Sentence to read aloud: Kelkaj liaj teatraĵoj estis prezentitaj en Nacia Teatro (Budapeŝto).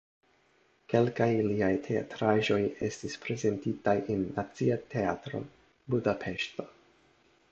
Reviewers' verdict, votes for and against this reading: accepted, 2, 0